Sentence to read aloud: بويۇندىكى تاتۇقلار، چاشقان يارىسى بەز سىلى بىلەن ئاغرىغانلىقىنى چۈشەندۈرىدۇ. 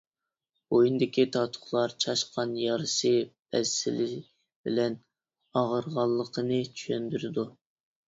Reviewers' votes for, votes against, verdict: 1, 2, rejected